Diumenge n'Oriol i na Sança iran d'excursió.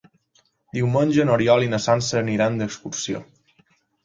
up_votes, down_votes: 0, 2